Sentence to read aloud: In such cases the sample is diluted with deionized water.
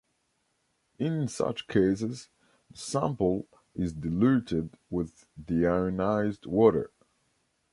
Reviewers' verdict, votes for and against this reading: rejected, 0, 2